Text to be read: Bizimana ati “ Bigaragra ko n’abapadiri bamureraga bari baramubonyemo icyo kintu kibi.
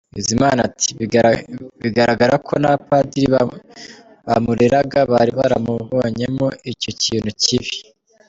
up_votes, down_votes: 0, 2